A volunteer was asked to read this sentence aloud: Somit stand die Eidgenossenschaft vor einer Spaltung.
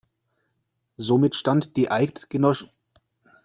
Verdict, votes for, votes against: rejected, 0, 2